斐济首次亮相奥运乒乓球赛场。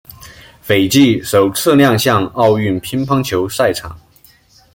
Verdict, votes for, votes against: accepted, 2, 0